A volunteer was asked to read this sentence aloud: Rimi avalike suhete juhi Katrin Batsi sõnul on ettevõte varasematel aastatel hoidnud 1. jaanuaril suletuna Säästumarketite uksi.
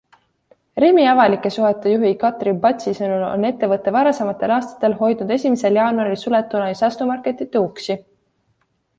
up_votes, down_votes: 0, 2